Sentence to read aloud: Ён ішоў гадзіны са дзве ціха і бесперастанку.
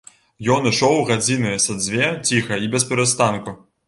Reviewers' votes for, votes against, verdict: 2, 0, accepted